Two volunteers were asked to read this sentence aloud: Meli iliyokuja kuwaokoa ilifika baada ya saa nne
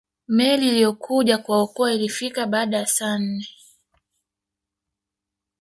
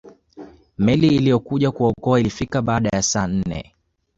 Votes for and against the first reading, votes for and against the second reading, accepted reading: 1, 2, 2, 0, second